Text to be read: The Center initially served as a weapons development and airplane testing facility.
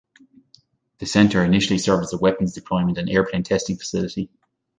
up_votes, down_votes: 1, 2